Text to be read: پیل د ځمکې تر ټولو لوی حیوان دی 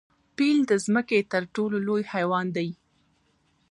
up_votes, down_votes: 1, 2